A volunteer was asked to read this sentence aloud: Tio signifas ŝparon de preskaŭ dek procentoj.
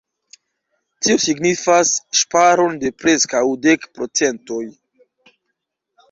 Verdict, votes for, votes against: accepted, 2, 0